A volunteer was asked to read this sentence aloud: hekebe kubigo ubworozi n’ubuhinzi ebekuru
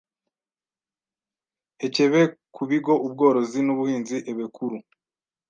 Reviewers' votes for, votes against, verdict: 1, 2, rejected